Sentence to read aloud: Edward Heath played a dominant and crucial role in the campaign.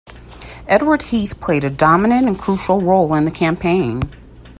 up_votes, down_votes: 2, 0